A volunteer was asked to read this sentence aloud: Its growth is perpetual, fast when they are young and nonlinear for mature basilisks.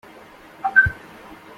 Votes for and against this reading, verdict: 0, 2, rejected